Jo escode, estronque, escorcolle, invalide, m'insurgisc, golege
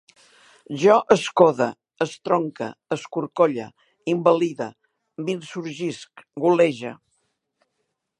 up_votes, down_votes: 2, 0